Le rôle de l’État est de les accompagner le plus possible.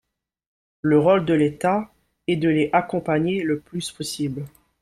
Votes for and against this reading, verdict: 1, 3, rejected